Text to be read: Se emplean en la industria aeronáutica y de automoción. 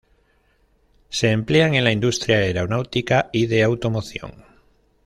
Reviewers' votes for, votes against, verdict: 2, 0, accepted